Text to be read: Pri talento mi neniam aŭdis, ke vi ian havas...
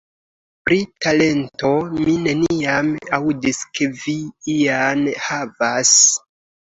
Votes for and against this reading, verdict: 2, 0, accepted